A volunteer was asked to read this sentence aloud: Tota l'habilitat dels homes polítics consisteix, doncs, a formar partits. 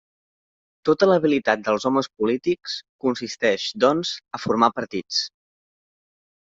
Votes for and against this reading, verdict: 3, 0, accepted